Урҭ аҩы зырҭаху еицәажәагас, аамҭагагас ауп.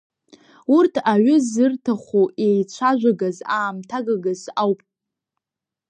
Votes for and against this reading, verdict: 2, 0, accepted